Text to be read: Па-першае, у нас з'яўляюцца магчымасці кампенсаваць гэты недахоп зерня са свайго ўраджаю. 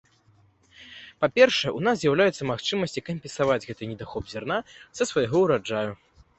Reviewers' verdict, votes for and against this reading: rejected, 0, 2